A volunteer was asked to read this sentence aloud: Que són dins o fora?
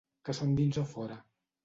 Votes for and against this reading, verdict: 1, 2, rejected